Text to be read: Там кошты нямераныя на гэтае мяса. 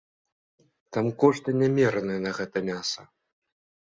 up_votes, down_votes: 3, 1